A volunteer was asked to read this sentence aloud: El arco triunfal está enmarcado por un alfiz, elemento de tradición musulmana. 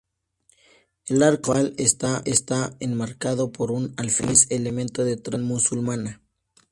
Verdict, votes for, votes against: rejected, 0, 2